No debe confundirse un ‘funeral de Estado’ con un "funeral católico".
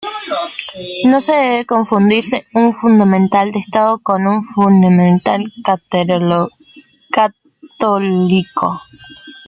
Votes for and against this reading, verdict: 0, 2, rejected